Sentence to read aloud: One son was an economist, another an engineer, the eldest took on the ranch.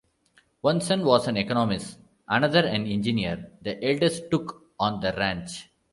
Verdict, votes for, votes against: rejected, 1, 2